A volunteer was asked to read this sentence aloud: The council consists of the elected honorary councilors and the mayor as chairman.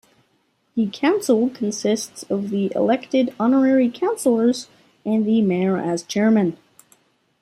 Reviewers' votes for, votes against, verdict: 2, 0, accepted